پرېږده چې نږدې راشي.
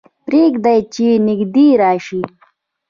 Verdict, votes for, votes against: rejected, 1, 2